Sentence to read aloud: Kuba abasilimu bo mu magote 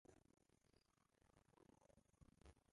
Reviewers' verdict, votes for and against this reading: rejected, 0, 2